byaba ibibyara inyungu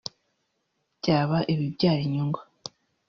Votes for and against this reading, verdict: 2, 0, accepted